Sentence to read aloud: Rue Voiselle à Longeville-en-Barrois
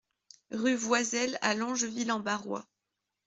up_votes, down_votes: 2, 0